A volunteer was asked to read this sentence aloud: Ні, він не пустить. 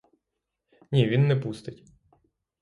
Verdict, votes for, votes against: accepted, 6, 0